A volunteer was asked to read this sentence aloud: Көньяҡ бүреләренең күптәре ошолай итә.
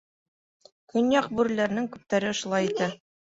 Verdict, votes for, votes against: rejected, 0, 2